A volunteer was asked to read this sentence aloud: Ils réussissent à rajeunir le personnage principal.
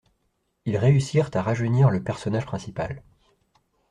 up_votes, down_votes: 1, 2